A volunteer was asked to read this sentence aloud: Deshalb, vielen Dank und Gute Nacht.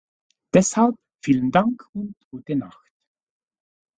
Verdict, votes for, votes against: rejected, 1, 2